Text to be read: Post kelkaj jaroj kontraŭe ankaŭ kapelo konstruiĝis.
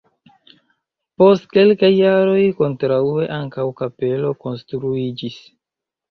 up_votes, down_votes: 1, 2